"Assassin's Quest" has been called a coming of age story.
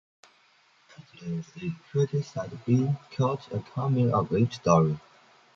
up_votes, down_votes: 0, 2